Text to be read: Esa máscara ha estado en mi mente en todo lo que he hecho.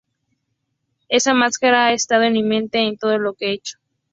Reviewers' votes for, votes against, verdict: 2, 0, accepted